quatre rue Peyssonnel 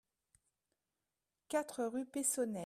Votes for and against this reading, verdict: 1, 2, rejected